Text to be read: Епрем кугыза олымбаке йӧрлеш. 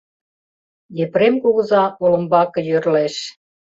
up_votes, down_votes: 2, 0